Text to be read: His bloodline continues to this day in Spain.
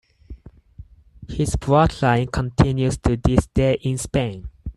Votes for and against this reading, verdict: 4, 0, accepted